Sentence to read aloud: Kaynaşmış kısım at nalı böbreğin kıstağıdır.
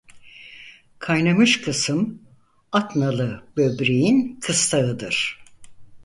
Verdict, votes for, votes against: rejected, 0, 4